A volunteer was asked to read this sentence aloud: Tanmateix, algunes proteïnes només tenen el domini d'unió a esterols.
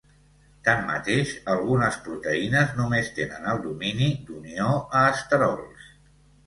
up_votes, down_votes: 2, 0